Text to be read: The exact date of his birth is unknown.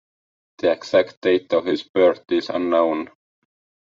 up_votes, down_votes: 2, 0